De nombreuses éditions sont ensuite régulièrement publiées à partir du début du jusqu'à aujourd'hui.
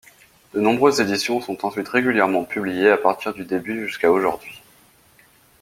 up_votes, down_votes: 1, 2